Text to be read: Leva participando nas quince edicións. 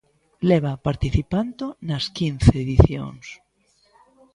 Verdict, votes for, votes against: rejected, 1, 2